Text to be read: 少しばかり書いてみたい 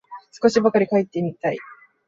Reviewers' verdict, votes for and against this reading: rejected, 1, 2